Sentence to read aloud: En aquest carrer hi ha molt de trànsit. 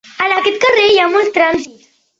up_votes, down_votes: 1, 2